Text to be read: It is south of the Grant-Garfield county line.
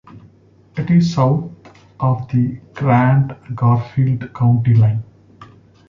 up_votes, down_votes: 2, 1